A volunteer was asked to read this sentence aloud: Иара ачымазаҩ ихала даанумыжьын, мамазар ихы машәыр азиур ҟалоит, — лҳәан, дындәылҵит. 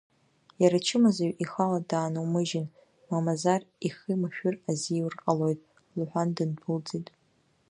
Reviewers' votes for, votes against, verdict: 1, 2, rejected